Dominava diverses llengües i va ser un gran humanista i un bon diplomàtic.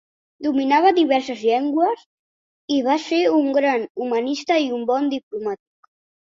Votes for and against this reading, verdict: 2, 0, accepted